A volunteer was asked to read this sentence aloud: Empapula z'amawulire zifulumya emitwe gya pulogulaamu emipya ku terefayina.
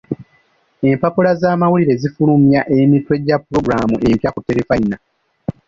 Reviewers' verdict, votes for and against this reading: rejected, 1, 2